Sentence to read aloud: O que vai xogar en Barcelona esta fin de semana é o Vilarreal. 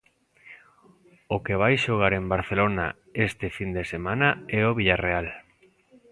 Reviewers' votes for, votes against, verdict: 0, 2, rejected